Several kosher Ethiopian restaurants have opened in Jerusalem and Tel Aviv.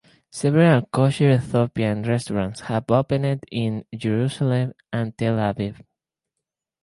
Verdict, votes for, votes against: rejected, 2, 4